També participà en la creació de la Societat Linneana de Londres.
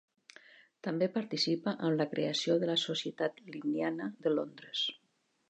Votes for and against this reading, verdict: 2, 3, rejected